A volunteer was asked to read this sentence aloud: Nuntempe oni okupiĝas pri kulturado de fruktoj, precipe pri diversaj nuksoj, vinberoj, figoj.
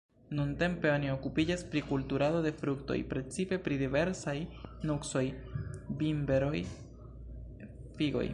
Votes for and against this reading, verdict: 1, 2, rejected